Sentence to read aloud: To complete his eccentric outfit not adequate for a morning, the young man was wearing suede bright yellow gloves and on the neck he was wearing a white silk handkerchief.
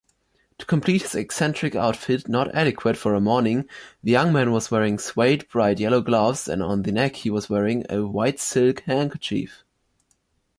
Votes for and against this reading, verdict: 2, 0, accepted